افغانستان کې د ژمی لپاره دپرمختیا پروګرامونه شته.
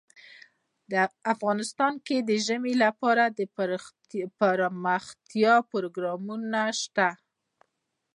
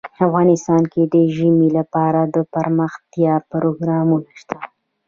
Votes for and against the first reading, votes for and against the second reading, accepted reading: 1, 2, 2, 0, second